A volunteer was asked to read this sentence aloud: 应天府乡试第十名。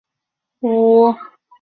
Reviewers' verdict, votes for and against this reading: rejected, 0, 2